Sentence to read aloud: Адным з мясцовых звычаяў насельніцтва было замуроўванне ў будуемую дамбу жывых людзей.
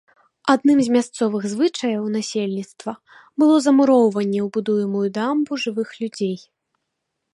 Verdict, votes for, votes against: accepted, 2, 0